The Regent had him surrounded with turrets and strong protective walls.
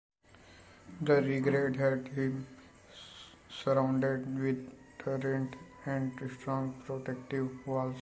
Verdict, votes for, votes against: rejected, 0, 2